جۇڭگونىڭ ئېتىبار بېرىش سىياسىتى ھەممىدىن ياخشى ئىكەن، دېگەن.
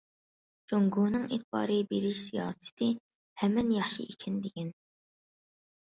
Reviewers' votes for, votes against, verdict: 0, 2, rejected